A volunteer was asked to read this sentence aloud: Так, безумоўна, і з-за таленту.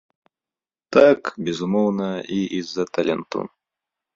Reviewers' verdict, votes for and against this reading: rejected, 1, 2